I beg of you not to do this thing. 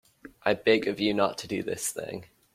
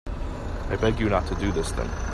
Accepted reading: first